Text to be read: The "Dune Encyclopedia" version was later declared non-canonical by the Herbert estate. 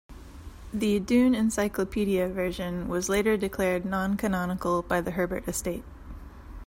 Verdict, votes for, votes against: accepted, 2, 0